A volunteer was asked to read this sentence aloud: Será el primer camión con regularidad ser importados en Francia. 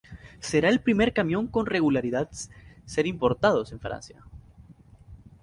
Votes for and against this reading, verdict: 2, 0, accepted